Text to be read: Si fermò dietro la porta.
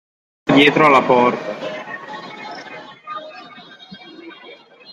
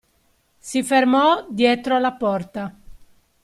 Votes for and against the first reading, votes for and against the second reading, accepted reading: 1, 2, 2, 0, second